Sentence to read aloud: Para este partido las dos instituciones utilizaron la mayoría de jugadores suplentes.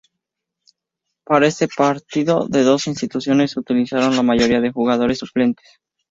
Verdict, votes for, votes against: rejected, 0, 2